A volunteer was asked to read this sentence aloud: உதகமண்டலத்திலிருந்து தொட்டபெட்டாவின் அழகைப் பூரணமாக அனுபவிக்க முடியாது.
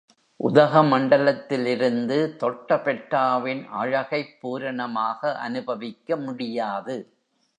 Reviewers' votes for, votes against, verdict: 2, 0, accepted